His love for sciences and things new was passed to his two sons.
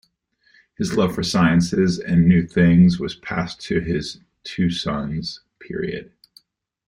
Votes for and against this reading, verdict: 1, 2, rejected